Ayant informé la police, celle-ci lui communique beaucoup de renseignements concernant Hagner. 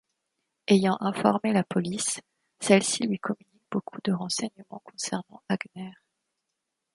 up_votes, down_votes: 1, 2